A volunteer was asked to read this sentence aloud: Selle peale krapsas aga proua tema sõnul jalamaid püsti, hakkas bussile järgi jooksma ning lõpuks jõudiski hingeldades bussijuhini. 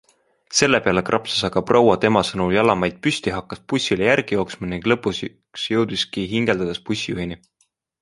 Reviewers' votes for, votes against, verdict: 2, 1, accepted